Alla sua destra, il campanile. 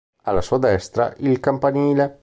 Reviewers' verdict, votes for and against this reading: accepted, 2, 0